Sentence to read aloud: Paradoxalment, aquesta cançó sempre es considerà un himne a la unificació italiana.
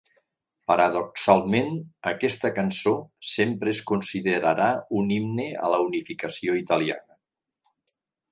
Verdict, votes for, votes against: rejected, 0, 2